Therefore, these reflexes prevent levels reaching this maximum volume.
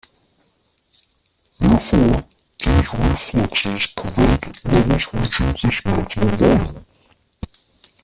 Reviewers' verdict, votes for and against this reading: rejected, 1, 2